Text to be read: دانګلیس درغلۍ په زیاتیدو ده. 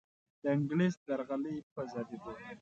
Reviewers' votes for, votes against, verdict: 2, 0, accepted